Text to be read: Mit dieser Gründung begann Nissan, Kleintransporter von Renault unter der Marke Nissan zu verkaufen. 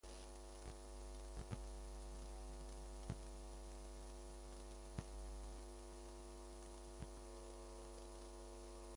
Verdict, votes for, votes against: rejected, 0, 2